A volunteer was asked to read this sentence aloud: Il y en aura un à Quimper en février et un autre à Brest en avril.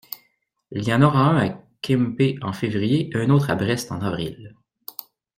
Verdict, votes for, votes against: rejected, 0, 2